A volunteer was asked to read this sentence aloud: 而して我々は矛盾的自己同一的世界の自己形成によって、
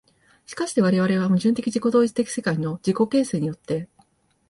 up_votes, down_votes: 2, 0